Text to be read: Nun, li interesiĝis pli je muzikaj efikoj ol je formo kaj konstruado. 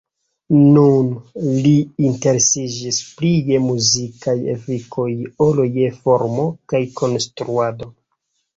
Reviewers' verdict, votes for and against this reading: rejected, 0, 2